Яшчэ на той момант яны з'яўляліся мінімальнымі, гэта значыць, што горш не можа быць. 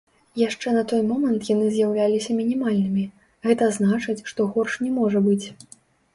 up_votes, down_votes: 1, 2